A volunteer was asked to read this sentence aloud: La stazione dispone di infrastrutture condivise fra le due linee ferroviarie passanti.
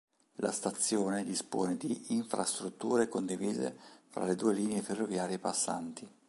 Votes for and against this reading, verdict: 2, 0, accepted